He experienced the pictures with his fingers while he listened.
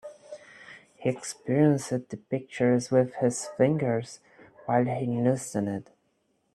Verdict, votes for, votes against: rejected, 0, 2